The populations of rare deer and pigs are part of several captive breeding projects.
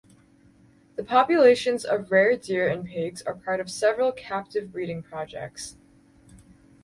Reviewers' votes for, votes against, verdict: 4, 0, accepted